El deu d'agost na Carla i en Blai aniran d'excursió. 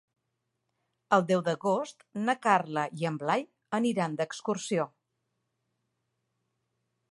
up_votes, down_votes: 3, 0